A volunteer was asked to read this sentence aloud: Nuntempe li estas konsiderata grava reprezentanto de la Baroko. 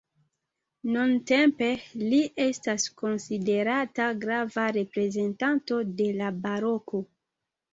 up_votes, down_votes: 2, 0